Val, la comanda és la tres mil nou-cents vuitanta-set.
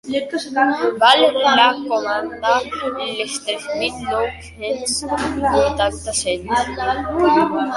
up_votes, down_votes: 0, 2